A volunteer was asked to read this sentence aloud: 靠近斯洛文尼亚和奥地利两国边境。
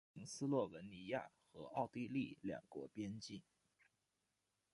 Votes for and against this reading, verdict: 0, 2, rejected